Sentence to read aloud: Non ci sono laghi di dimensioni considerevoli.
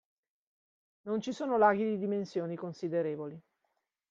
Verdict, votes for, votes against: accepted, 2, 0